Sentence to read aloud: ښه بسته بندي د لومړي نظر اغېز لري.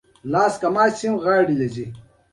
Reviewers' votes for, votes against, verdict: 1, 2, rejected